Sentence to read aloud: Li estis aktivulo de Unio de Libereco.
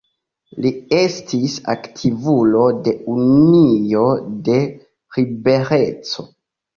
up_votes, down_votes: 1, 2